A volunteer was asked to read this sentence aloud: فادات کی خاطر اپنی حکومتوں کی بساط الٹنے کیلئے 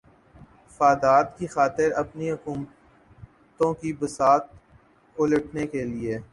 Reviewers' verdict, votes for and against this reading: rejected, 1, 2